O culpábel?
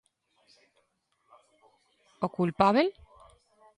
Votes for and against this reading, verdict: 2, 0, accepted